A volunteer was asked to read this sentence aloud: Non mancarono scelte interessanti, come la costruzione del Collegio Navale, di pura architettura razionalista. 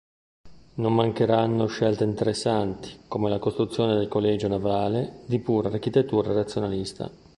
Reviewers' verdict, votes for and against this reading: rejected, 0, 2